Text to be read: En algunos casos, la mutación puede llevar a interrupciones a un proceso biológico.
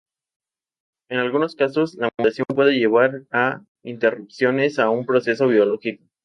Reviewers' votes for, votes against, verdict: 2, 0, accepted